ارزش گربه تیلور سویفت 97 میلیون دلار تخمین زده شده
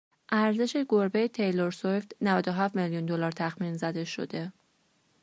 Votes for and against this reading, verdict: 0, 2, rejected